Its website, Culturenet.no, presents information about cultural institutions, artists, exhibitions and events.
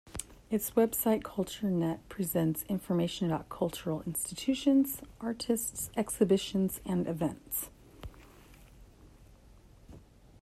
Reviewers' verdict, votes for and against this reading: rejected, 0, 2